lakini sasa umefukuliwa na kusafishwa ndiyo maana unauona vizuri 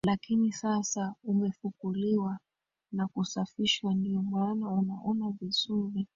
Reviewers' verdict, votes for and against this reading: rejected, 0, 2